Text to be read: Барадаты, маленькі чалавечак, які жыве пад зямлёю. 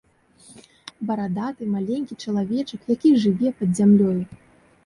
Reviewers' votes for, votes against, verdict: 2, 0, accepted